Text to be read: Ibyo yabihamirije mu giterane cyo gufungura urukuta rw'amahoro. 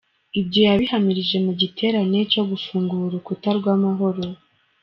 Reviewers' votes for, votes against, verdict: 2, 1, accepted